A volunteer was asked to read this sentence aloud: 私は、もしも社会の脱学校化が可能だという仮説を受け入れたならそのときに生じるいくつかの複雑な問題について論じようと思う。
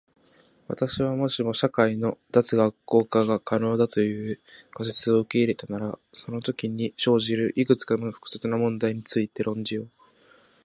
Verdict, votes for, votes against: rejected, 0, 2